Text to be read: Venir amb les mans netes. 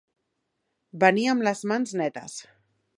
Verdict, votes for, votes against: accepted, 2, 0